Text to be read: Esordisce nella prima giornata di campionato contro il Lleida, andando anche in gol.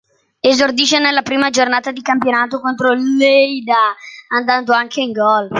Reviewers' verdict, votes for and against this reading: accepted, 2, 1